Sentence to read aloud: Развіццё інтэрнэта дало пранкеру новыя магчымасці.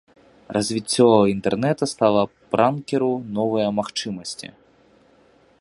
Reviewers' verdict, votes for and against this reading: rejected, 1, 3